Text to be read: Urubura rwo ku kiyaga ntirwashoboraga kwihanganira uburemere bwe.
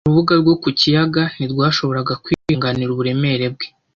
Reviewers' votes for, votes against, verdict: 1, 2, rejected